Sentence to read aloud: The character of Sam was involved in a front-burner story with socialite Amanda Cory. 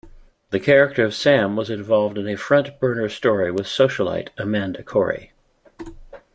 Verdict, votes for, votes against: accepted, 2, 0